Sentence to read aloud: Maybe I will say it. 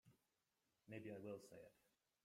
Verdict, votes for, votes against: rejected, 0, 2